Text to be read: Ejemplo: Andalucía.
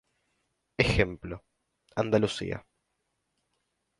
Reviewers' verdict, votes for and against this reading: accepted, 2, 0